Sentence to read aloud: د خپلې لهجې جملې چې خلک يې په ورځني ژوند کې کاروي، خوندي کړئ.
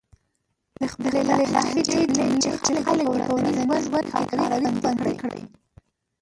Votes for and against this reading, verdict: 0, 3, rejected